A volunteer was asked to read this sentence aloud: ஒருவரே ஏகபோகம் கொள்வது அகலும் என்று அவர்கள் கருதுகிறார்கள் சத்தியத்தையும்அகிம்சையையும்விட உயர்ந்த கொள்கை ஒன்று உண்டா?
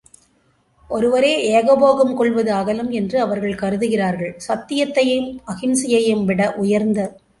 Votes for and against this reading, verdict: 0, 2, rejected